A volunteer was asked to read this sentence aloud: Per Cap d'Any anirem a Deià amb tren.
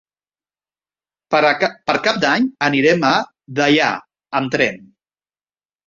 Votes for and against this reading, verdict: 1, 2, rejected